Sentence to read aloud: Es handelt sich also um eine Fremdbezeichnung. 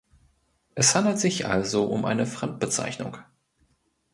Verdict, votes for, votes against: accepted, 2, 0